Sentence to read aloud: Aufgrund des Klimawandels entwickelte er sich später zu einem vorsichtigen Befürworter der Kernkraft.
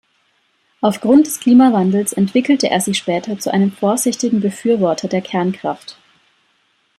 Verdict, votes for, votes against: accepted, 2, 0